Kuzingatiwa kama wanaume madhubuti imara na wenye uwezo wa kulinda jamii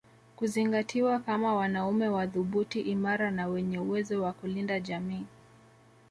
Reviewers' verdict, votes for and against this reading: rejected, 1, 2